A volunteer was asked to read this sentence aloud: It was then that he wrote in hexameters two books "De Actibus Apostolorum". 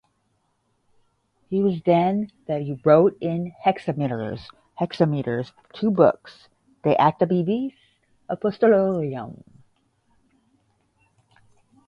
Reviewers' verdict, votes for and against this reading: rejected, 0, 5